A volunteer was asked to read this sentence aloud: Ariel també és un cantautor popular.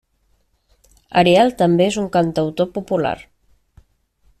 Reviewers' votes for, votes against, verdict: 3, 0, accepted